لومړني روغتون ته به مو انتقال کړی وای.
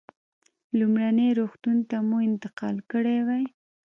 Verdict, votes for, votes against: accepted, 2, 0